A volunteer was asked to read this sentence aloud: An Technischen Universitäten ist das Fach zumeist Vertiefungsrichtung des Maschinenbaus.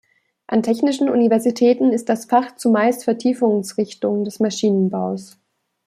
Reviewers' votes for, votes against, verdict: 2, 0, accepted